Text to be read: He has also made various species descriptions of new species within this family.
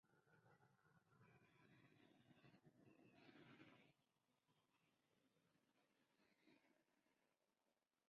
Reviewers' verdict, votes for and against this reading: rejected, 0, 2